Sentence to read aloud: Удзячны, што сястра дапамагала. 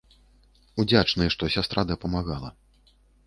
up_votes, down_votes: 2, 0